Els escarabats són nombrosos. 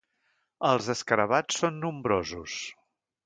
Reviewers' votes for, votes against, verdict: 3, 0, accepted